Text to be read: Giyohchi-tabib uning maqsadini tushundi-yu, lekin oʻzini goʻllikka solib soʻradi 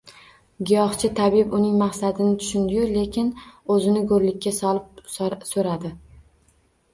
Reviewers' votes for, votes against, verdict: 0, 2, rejected